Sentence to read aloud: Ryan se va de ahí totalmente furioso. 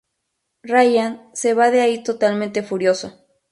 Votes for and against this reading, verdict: 4, 0, accepted